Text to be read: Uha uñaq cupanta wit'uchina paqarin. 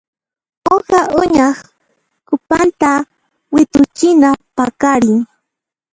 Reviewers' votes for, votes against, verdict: 0, 2, rejected